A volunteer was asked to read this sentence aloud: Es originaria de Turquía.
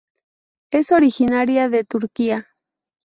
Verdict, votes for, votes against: accepted, 2, 0